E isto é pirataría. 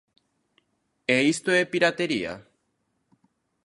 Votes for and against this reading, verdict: 0, 2, rejected